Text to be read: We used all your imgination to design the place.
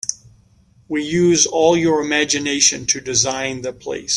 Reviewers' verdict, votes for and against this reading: accepted, 2, 0